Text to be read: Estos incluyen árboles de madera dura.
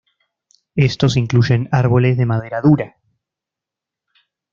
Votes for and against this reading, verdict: 2, 0, accepted